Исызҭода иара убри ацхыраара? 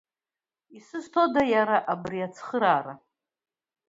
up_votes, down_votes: 2, 0